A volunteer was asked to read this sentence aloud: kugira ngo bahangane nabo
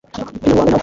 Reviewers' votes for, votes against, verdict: 1, 2, rejected